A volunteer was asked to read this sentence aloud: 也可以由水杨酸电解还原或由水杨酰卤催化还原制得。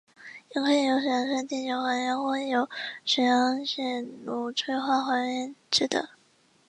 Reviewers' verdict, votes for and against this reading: rejected, 0, 2